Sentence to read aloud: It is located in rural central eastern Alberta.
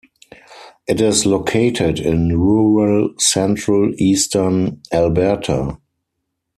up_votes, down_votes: 4, 0